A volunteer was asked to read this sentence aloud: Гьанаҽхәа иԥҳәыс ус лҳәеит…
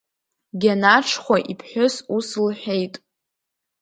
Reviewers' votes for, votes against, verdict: 2, 0, accepted